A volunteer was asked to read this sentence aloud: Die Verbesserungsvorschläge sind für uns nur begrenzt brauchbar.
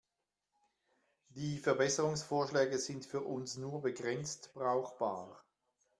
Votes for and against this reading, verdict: 1, 2, rejected